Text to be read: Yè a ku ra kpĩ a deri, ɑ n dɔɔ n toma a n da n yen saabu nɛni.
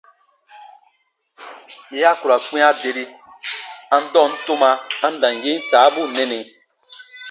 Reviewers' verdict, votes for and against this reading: rejected, 0, 2